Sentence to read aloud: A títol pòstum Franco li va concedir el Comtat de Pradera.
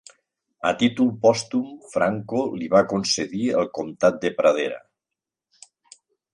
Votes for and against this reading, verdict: 3, 0, accepted